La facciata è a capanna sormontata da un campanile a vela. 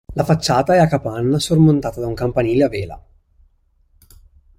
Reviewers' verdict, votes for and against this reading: accepted, 2, 0